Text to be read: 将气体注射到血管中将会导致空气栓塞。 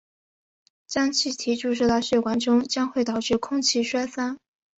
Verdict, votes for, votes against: accepted, 2, 1